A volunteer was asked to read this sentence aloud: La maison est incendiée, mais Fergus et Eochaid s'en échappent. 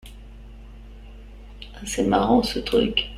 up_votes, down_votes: 0, 2